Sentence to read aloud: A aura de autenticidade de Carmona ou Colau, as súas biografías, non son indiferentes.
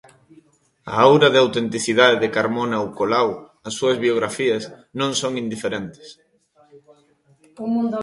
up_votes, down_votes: 2, 0